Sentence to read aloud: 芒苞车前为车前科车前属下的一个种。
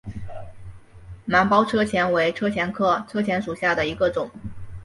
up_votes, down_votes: 3, 0